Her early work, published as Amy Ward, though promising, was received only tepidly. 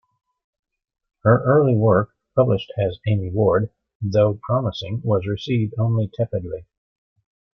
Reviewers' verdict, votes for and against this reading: accepted, 2, 0